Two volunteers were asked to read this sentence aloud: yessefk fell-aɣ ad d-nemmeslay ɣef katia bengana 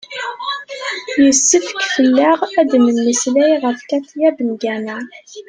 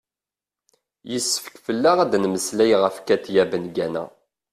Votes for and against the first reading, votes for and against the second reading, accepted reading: 1, 2, 2, 0, second